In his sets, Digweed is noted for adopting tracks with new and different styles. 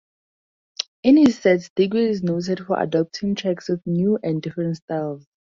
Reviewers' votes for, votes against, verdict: 2, 0, accepted